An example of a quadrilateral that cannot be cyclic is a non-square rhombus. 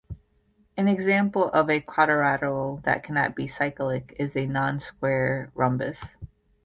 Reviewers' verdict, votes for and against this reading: accepted, 2, 0